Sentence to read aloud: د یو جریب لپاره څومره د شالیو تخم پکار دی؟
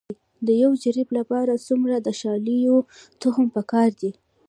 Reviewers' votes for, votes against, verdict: 2, 0, accepted